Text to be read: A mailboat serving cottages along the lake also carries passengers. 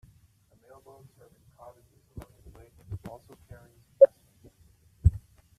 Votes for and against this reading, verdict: 0, 2, rejected